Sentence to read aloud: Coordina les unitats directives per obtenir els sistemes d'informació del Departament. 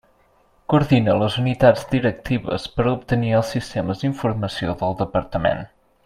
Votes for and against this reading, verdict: 3, 0, accepted